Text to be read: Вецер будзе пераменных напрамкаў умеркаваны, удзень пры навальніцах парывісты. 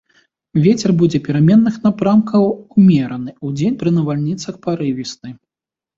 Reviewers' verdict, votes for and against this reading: rejected, 1, 2